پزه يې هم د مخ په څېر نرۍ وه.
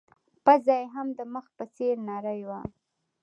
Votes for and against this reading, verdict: 2, 0, accepted